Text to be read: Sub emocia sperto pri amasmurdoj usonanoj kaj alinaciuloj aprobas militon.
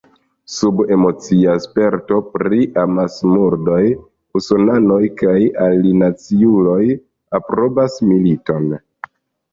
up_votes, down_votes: 1, 2